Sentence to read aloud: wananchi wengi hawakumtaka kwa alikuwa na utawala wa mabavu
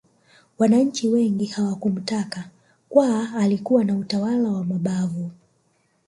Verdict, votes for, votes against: rejected, 1, 2